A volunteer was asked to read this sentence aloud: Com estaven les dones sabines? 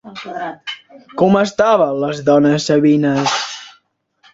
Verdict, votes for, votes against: rejected, 1, 2